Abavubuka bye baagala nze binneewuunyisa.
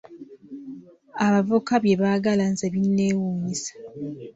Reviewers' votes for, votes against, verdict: 2, 1, accepted